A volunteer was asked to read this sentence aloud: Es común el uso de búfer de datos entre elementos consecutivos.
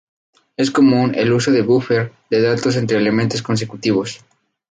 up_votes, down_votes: 2, 0